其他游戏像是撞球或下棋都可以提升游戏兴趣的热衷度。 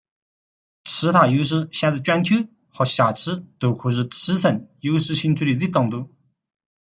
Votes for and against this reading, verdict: 1, 2, rejected